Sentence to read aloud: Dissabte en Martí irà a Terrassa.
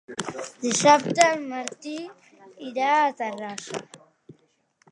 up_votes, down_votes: 3, 0